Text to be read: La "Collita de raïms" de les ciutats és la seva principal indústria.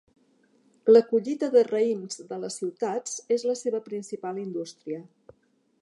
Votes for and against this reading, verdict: 2, 0, accepted